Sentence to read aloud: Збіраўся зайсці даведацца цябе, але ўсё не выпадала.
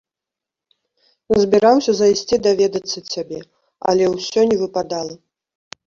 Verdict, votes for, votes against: accepted, 2, 1